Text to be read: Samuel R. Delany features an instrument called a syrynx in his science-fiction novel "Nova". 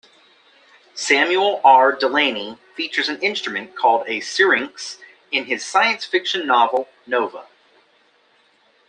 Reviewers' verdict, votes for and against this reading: accepted, 2, 0